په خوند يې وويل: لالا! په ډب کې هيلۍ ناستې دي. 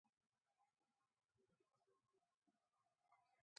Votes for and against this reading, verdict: 0, 2, rejected